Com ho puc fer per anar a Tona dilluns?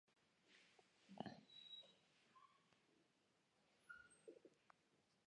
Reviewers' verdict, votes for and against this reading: rejected, 3, 9